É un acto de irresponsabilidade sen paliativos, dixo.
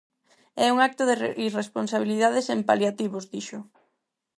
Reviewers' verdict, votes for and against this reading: rejected, 2, 4